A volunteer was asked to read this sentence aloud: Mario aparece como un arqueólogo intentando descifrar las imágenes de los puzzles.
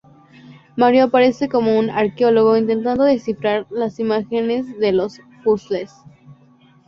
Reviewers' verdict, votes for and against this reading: accepted, 2, 0